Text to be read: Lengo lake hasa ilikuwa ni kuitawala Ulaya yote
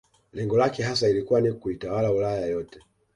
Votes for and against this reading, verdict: 2, 1, accepted